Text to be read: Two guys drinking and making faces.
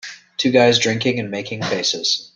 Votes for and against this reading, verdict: 3, 0, accepted